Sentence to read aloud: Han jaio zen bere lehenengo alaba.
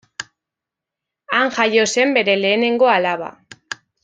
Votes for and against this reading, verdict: 2, 0, accepted